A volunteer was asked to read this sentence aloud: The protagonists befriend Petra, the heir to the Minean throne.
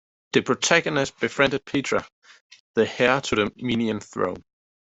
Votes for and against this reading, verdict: 2, 1, accepted